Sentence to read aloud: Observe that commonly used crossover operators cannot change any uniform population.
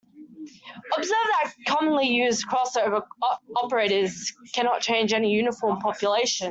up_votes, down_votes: 1, 2